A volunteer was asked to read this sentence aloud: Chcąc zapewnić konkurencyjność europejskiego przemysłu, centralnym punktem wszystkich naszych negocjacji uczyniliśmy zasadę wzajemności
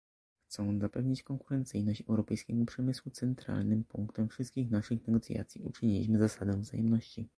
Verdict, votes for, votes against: rejected, 1, 2